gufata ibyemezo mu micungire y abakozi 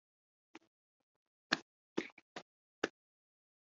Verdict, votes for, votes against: rejected, 0, 3